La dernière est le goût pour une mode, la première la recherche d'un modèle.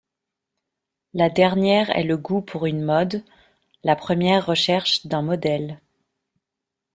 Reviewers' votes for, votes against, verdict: 0, 2, rejected